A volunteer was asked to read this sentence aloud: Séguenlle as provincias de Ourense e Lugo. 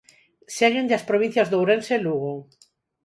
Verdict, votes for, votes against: accepted, 4, 0